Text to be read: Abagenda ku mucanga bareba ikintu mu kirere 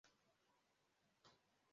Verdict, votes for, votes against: rejected, 0, 2